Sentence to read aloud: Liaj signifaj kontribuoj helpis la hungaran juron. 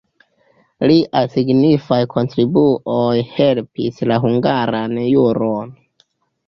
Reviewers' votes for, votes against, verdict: 2, 0, accepted